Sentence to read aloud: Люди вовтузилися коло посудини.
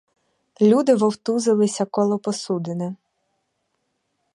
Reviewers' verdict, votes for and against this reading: accepted, 4, 0